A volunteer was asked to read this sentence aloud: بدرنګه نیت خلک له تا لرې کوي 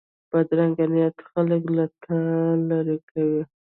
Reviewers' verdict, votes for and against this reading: rejected, 1, 2